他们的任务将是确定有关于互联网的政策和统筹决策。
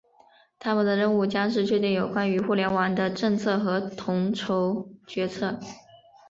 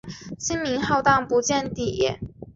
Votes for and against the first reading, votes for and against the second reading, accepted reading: 4, 0, 0, 4, first